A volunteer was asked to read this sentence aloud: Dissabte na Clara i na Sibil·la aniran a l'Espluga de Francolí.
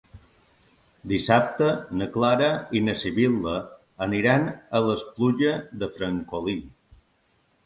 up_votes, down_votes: 0, 2